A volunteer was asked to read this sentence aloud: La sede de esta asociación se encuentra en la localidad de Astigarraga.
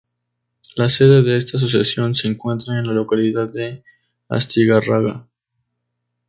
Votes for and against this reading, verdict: 2, 2, rejected